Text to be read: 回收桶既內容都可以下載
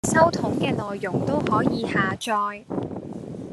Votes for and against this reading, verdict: 0, 2, rejected